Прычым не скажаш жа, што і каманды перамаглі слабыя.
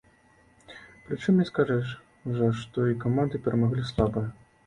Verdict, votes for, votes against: rejected, 1, 2